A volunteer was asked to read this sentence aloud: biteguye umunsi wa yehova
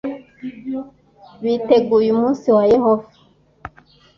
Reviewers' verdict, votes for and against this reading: accepted, 2, 0